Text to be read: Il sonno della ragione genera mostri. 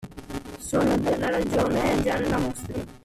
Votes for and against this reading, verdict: 0, 2, rejected